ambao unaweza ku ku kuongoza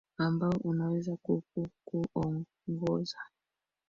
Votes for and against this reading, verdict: 2, 0, accepted